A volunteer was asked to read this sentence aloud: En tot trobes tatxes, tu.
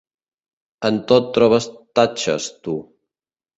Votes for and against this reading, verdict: 2, 0, accepted